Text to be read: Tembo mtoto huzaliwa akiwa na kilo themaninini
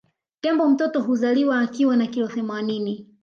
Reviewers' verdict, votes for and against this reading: accepted, 2, 0